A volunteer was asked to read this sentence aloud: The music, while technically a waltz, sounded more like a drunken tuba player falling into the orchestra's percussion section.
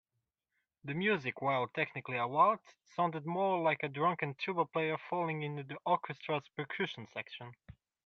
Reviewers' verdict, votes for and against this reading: accepted, 2, 0